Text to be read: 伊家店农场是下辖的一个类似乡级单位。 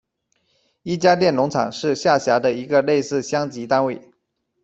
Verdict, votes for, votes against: accepted, 2, 0